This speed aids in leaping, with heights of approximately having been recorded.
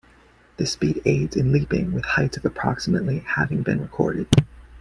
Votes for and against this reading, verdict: 2, 0, accepted